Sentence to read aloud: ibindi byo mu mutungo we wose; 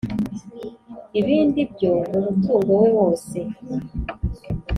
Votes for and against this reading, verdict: 3, 0, accepted